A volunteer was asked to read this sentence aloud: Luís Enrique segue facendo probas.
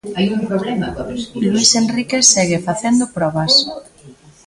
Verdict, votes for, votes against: rejected, 0, 2